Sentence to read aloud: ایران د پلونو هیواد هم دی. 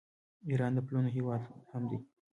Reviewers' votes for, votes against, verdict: 2, 0, accepted